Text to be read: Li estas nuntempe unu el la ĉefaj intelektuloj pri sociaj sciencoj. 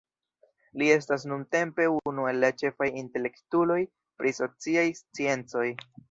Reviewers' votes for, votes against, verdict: 1, 2, rejected